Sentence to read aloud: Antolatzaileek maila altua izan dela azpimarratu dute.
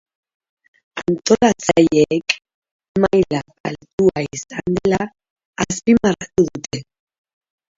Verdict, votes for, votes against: rejected, 2, 4